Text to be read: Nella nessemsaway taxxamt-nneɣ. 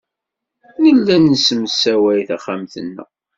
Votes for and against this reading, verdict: 1, 2, rejected